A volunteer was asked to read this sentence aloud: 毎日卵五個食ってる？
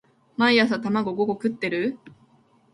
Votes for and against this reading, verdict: 1, 2, rejected